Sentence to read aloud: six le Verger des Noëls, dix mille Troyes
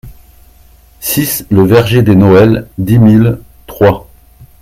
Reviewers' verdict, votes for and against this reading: accepted, 2, 0